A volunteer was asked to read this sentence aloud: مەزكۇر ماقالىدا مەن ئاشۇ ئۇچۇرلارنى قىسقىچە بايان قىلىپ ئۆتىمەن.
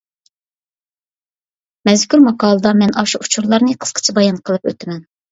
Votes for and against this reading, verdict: 2, 0, accepted